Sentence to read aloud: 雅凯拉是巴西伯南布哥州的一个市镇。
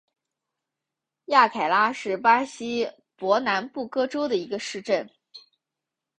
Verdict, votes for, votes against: accepted, 2, 0